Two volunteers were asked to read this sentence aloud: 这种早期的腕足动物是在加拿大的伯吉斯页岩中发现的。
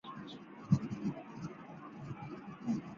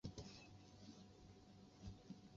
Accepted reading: second